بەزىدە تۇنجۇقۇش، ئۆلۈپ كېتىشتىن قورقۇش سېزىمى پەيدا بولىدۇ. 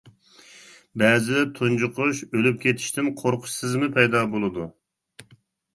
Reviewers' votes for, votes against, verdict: 0, 2, rejected